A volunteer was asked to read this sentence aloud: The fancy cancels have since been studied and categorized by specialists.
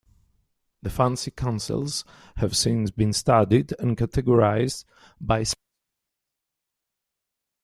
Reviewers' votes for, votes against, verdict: 1, 2, rejected